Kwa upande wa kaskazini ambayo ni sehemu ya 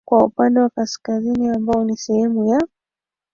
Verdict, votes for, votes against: rejected, 2, 3